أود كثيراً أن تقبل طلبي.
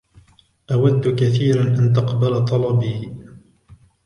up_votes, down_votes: 1, 2